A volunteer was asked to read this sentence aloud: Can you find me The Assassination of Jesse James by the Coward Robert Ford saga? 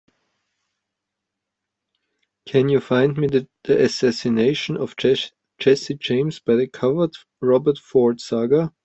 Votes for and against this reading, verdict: 1, 2, rejected